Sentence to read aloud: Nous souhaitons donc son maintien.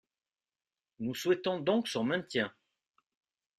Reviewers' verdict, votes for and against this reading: accepted, 2, 0